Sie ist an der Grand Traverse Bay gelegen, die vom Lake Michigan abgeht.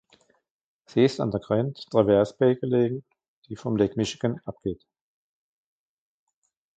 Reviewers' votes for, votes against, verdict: 2, 1, accepted